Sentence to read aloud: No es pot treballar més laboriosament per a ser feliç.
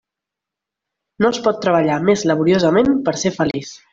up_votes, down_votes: 2, 0